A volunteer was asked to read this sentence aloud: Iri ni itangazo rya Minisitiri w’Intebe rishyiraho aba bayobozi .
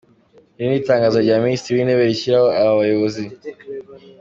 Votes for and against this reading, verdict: 2, 0, accepted